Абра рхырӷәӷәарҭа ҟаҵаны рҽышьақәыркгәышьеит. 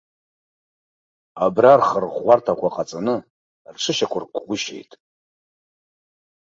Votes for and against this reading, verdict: 1, 2, rejected